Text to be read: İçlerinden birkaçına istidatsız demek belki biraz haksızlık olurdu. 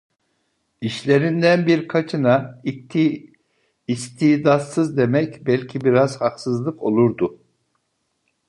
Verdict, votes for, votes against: rejected, 0, 2